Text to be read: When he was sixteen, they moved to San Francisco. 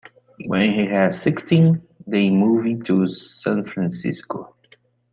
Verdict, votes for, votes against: rejected, 1, 2